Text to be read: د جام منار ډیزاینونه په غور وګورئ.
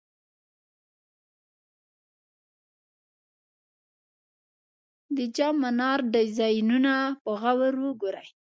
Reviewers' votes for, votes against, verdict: 1, 2, rejected